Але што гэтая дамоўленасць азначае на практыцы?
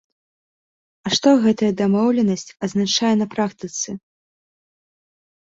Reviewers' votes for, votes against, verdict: 1, 2, rejected